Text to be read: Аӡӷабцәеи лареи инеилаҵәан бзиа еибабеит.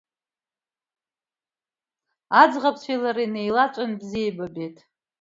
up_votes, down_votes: 2, 0